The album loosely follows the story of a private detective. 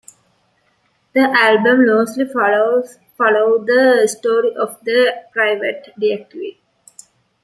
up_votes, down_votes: 2, 0